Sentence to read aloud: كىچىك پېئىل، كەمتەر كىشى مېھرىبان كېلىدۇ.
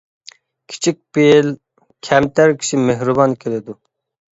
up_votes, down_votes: 2, 0